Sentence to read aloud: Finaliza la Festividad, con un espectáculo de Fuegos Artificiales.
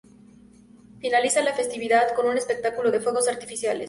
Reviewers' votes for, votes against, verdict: 2, 0, accepted